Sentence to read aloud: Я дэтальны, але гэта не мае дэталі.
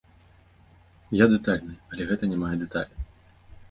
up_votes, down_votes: 0, 2